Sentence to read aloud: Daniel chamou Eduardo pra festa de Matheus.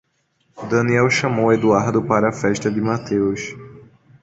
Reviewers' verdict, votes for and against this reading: rejected, 1, 2